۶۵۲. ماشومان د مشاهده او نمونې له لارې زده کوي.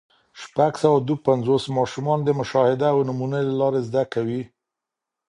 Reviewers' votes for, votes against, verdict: 0, 2, rejected